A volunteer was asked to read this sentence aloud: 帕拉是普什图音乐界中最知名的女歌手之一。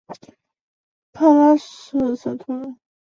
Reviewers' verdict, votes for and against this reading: rejected, 1, 2